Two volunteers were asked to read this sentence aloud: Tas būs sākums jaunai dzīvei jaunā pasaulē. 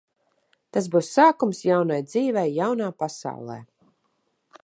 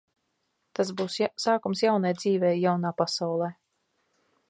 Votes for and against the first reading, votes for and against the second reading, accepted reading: 2, 0, 0, 2, first